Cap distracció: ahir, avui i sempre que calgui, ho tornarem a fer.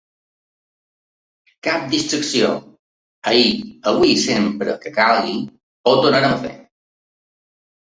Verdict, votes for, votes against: rejected, 1, 2